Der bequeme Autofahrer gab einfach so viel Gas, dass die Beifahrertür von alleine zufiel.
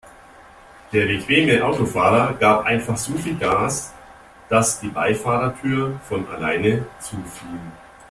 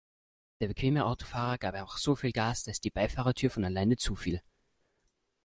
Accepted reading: first